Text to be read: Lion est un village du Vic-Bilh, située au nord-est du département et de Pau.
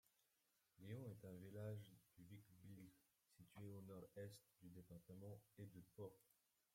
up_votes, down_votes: 0, 2